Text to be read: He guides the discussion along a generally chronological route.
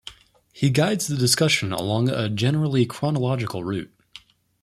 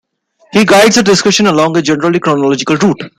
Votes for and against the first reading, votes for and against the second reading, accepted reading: 2, 0, 0, 2, first